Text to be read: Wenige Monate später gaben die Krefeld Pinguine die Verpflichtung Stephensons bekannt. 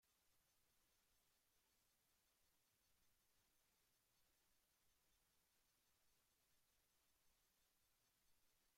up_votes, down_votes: 0, 2